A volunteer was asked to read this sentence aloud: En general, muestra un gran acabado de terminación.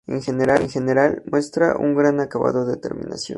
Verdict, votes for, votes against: rejected, 0, 2